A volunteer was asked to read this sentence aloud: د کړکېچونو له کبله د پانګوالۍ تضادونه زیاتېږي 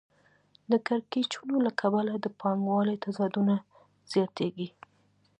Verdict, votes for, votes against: accepted, 2, 0